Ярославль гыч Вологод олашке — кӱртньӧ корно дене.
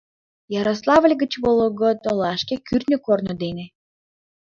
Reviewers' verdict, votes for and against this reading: accepted, 2, 0